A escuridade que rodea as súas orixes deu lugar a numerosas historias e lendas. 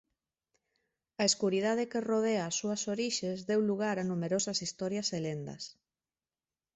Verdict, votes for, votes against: accepted, 2, 0